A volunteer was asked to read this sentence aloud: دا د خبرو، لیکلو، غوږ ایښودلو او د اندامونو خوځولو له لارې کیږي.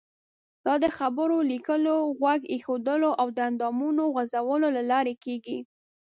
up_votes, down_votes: 2, 0